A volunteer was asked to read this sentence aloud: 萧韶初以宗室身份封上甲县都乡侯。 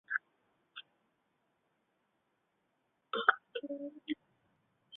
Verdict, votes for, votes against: rejected, 1, 2